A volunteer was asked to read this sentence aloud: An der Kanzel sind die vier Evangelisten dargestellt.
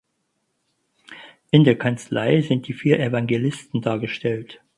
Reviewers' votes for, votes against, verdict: 0, 4, rejected